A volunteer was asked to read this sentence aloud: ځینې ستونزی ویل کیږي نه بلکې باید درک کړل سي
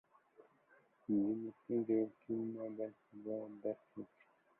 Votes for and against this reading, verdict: 0, 2, rejected